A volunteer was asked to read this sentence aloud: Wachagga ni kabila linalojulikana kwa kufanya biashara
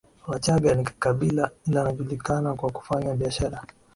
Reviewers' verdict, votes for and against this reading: rejected, 0, 2